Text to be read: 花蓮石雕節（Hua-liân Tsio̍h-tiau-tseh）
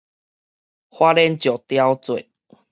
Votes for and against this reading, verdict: 4, 0, accepted